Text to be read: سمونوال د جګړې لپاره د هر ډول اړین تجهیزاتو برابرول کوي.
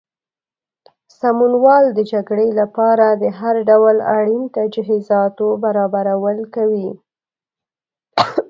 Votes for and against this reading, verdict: 1, 3, rejected